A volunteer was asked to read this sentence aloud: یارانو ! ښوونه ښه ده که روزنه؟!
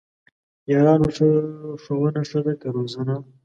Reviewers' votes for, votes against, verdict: 2, 1, accepted